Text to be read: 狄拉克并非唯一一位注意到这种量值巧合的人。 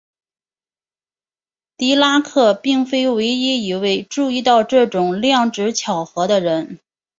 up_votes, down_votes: 2, 0